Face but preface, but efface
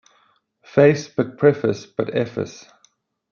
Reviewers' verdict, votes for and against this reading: rejected, 0, 2